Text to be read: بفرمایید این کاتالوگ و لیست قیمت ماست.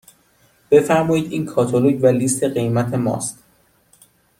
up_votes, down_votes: 2, 0